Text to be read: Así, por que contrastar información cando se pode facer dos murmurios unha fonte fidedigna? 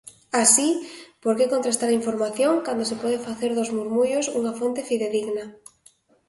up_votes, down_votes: 2, 0